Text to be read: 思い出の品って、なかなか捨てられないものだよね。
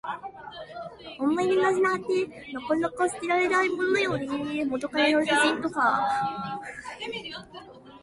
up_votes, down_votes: 1, 2